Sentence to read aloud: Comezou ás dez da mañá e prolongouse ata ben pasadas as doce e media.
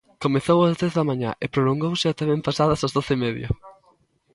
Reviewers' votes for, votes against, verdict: 2, 0, accepted